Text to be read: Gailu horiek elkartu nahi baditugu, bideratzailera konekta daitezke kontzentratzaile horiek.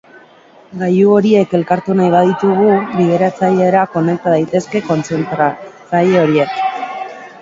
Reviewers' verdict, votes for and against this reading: rejected, 0, 2